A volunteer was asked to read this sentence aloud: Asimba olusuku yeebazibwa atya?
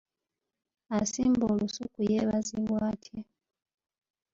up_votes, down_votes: 0, 2